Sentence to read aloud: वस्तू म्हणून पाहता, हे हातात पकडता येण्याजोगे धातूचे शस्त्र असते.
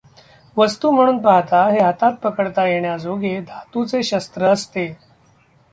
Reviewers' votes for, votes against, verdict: 2, 0, accepted